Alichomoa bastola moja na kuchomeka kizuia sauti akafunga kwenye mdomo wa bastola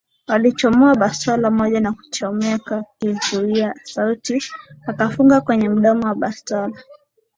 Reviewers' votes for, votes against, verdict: 2, 0, accepted